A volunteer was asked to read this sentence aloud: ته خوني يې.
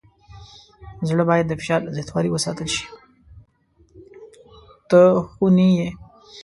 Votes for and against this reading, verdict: 0, 2, rejected